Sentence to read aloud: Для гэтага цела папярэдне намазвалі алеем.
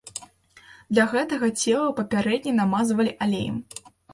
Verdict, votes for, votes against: accepted, 2, 0